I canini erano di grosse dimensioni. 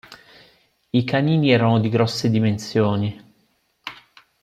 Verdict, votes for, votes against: accepted, 2, 0